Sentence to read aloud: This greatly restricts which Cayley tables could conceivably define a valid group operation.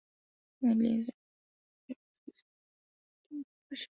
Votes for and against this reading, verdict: 0, 2, rejected